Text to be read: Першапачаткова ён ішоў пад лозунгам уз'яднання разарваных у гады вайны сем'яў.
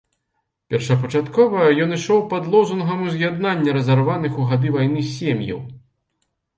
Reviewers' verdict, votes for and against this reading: accepted, 2, 0